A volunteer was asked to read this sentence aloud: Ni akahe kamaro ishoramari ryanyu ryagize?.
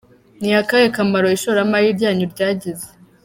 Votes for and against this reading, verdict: 2, 0, accepted